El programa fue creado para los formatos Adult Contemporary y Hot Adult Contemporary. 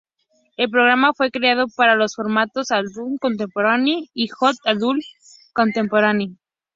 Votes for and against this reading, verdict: 0, 2, rejected